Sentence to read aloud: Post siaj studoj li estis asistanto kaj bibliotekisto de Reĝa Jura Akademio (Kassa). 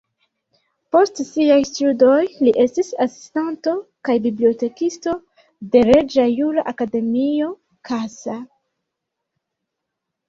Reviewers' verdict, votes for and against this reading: rejected, 1, 2